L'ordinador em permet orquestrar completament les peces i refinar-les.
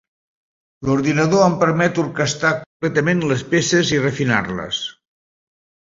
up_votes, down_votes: 0, 2